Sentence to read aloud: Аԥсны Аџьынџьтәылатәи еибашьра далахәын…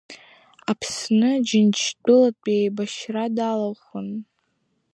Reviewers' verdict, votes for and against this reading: rejected, 0, 2